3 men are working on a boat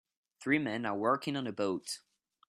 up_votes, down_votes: 0, 2